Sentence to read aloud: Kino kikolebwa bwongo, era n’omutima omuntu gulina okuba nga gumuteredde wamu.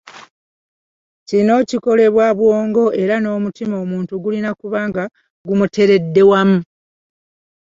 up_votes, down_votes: 2, 0